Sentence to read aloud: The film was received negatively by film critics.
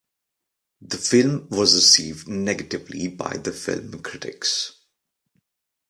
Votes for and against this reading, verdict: 1, 2, rejected